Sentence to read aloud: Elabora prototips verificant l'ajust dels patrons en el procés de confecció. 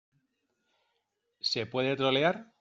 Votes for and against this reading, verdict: 0, 2, rejected